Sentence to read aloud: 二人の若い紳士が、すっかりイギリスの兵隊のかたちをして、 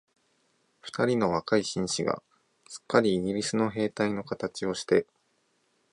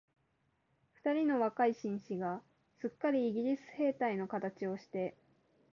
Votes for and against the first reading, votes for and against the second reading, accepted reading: 2, 0, 1, 2, first